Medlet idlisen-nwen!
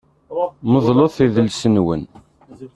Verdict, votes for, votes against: rejected, 0, 2